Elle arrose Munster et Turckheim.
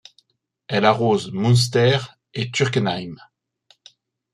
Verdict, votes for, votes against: rejected, 0, 2